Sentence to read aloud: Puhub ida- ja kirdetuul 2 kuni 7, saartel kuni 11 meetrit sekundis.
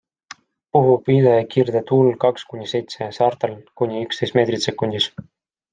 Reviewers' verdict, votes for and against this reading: rejected, 0, 2